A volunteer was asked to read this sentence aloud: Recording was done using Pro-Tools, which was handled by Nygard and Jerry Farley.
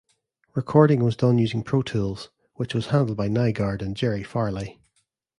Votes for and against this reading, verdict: 2, 0, accepted